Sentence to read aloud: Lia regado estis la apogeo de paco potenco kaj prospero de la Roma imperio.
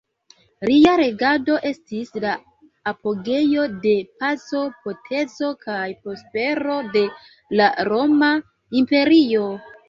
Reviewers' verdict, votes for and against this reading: accepted, 2, 0